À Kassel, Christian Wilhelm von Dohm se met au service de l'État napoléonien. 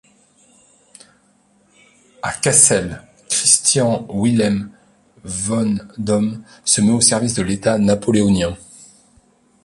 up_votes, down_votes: 1, 2